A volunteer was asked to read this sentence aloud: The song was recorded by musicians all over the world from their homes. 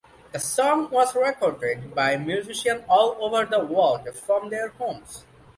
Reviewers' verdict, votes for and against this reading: accepted, 2, 1